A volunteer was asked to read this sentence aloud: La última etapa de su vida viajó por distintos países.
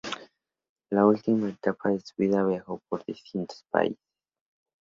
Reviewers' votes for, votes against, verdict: 2, 0, accepted